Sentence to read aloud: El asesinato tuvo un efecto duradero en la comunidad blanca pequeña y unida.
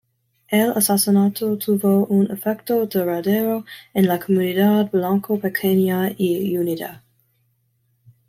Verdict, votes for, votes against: rejected, 0, 2